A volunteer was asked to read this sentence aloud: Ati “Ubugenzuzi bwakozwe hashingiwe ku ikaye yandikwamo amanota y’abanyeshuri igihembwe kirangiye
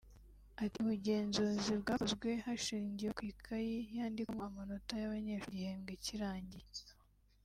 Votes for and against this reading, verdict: 0, 2, rejected